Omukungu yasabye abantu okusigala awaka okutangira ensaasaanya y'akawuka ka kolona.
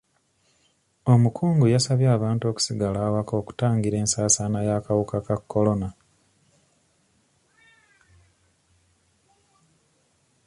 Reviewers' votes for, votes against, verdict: 2, 0, accepted